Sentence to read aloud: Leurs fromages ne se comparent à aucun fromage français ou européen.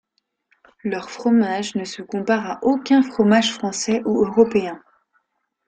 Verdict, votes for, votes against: accepted, 2, 0